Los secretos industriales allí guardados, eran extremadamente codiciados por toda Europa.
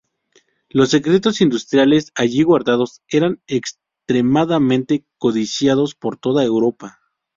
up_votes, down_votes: 2, 0